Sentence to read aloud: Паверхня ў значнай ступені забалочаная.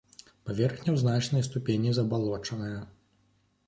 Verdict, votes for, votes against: accepted, 2, 0